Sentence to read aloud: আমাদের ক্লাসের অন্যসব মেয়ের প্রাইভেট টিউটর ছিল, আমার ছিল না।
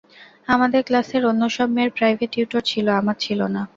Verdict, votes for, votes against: accepted, 2, 0